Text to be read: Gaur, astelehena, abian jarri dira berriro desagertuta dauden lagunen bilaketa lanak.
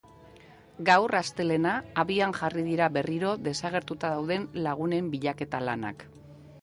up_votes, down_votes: 1, 2